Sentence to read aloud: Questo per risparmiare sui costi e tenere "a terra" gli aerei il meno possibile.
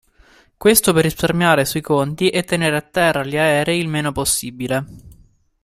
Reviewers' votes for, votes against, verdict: 1, 2, rejected